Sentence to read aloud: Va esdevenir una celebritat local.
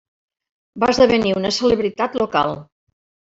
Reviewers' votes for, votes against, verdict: 3, 0, accepted